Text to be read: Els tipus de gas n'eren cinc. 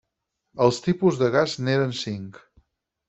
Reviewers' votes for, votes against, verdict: 4, 0, accepted